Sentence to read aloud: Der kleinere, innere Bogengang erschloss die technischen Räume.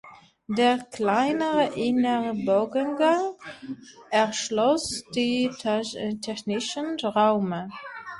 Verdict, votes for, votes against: rejected, 0, 2